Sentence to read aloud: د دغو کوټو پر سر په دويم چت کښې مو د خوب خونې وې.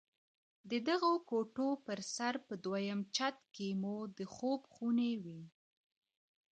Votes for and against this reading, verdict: 1, 2, rejected